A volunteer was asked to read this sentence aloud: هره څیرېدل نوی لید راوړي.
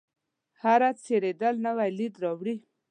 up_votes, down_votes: 2, 0